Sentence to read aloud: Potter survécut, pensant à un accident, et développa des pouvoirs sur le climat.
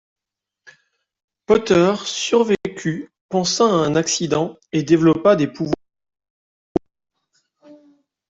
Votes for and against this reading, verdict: 0, 2, rejected